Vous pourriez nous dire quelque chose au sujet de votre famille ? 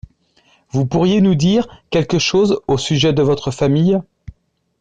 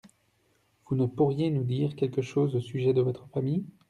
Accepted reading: first